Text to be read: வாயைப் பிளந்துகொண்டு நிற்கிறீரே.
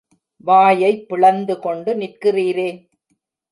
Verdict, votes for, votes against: accepted, 3, 0